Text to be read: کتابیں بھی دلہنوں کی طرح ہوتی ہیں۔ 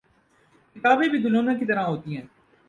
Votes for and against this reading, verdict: 2, 0, accepted